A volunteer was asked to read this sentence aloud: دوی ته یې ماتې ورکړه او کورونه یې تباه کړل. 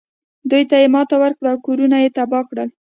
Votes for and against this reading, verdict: 2, 0, accepted